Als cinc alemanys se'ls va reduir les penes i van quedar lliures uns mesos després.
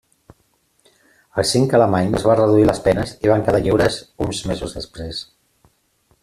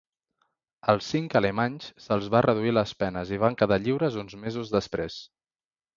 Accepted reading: second